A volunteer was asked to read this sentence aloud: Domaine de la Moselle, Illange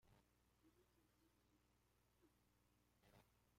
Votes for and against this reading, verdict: 0, 2, rejected